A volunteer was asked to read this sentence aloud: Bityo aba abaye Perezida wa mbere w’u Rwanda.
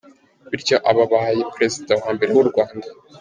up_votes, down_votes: 2, 0